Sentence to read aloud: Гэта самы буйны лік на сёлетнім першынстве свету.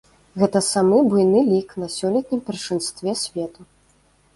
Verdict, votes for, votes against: rejected, 0, 2